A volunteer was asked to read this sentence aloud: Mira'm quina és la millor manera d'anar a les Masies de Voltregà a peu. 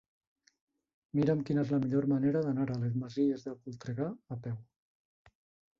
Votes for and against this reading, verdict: 2, 1, accepted